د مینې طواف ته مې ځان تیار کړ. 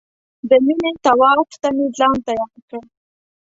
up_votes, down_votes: 1, 2